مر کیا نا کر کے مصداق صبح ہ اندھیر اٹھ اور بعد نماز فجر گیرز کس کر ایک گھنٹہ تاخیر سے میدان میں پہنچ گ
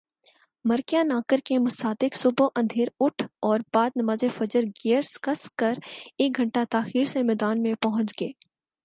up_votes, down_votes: 0, 4